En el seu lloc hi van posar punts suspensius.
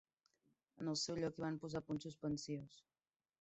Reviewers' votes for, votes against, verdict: 1, 2, rejected